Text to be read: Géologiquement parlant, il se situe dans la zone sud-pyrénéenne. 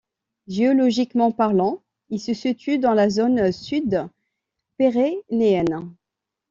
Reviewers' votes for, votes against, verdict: 1, 2, rejected